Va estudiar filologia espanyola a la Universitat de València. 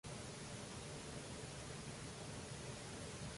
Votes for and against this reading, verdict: 0, 2, rejected